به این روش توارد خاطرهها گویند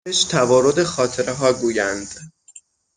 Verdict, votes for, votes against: rejected, 0, 6